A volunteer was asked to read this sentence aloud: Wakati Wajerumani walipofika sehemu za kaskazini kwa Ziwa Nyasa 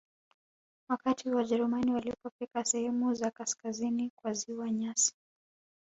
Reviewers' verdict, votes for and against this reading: accepted, 2, 0